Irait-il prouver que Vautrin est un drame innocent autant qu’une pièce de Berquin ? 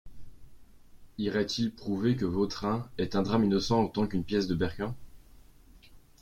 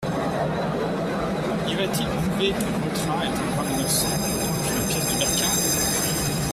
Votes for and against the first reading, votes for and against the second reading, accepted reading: 2, 0, 1, 2, first